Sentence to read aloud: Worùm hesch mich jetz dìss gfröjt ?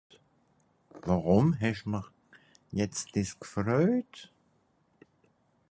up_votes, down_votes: 2, 2